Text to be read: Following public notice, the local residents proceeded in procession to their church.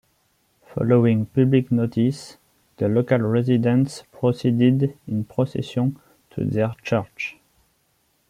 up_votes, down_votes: 1, 2